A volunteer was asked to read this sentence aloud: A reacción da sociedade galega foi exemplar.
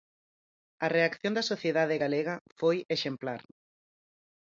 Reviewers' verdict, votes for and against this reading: accepted, 4, 0